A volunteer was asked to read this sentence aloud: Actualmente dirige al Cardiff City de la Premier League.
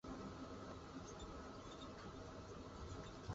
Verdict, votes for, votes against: rejected, 0, 2